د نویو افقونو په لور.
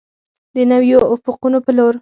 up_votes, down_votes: 2, 4